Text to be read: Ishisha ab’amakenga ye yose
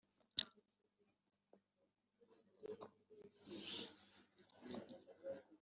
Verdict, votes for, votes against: rejected, 0, 2